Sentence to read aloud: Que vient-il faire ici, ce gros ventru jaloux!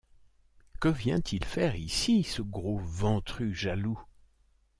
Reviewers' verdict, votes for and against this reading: accepted, 2, 0